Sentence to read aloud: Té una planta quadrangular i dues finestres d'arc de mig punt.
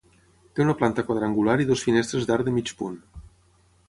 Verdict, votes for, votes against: rejected, 3, 3